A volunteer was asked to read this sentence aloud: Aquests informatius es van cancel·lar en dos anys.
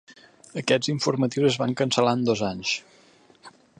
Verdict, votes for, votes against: accepted, 7, 0